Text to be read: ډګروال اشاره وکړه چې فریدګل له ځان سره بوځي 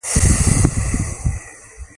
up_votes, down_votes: 1, 2